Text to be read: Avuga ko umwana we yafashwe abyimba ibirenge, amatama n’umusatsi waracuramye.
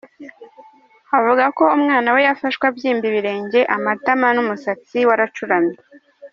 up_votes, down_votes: 2, 0